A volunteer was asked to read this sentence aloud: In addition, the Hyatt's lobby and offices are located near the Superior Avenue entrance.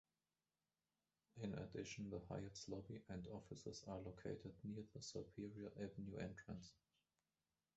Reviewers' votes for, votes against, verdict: 1, 2, rejected